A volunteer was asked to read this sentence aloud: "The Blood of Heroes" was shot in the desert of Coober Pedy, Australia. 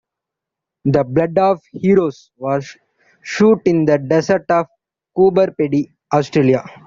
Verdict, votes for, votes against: rejected, 0, 2